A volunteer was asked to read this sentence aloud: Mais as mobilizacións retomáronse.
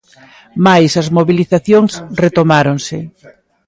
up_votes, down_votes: 1, 2